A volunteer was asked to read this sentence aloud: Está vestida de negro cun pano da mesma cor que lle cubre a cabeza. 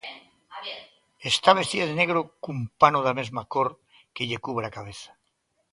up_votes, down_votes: 1, 2